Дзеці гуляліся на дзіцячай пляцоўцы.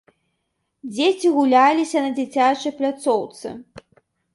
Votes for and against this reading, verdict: 2, 0, accepted